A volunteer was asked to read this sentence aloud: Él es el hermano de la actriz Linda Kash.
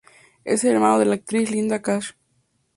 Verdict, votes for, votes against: rejected, 0, 2